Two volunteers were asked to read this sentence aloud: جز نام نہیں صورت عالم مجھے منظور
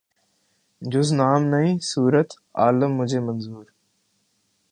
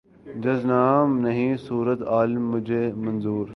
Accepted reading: first